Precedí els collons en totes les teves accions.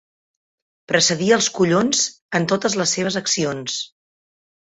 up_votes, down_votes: 3, 1